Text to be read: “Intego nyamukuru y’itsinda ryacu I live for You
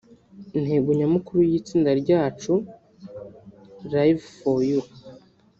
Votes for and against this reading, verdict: 1, 2, rejected